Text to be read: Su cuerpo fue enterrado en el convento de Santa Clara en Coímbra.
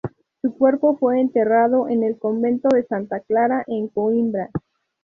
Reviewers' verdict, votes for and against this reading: rejected, 0, 2